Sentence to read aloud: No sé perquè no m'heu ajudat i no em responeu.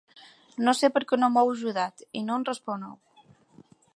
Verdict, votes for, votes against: accepted, 2, 1